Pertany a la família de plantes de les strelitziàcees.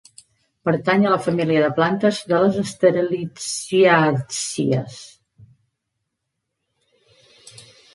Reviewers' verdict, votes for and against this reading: rejected, 0, 2